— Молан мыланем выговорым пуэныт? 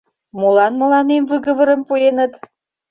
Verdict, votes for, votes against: accepted, 2, 0